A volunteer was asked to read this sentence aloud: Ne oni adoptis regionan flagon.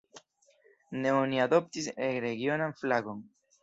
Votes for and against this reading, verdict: 2, 1, accepted